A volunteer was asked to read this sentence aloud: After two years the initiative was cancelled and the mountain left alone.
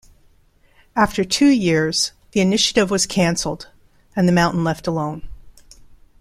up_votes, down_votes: 2, 0